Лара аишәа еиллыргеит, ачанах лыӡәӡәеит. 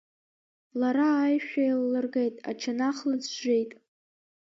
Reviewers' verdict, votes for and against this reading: accepted, 2, 0